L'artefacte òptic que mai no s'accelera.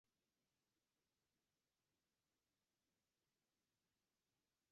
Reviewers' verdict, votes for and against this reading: rejected, 1, 2